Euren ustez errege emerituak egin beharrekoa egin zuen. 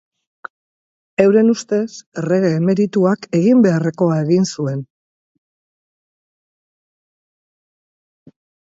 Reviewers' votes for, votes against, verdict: 4, 0, accepted